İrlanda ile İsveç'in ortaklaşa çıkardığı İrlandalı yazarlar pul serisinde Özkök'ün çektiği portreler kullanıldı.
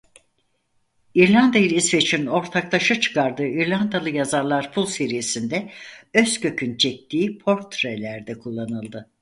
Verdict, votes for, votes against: rejected, 2, 4